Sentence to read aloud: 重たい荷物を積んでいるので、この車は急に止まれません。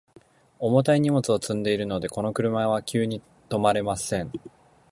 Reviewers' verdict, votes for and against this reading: accepted, 2, 0